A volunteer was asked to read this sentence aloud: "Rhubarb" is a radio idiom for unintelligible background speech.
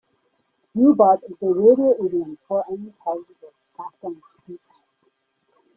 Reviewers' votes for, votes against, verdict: 0, 2, rejected